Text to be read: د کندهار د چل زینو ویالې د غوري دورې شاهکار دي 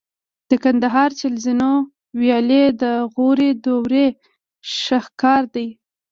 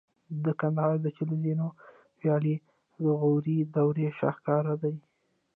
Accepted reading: first